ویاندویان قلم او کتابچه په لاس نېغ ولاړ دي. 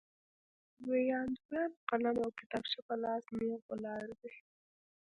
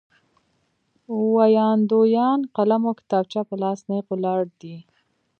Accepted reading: second